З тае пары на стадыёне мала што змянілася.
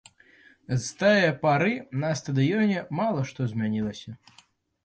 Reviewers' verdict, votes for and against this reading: rejected, 0, 2